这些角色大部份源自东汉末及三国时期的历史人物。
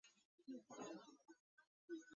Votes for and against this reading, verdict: 0, 5, rejected